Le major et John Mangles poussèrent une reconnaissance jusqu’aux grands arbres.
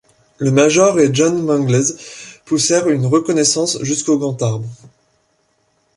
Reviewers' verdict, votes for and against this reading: rejected, 1, 2